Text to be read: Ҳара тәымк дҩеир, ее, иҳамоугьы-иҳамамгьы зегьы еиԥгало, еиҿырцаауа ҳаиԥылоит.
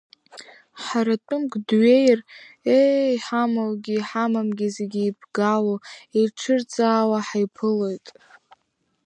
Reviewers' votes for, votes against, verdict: 2, 0, accepted